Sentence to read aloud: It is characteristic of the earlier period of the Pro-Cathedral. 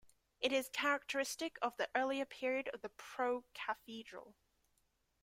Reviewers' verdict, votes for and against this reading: accepted, 2, 0